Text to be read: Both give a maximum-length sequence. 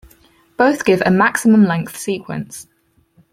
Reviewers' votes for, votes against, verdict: 4, 0, accepted